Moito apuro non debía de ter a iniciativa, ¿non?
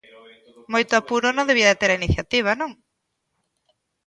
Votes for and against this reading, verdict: 1, 2, rejected